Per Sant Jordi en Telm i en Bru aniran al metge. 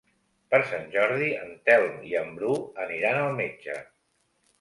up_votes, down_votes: 2, 0